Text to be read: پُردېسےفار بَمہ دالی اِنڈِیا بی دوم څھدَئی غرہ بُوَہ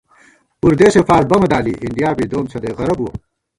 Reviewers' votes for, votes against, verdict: 1, 2, rejected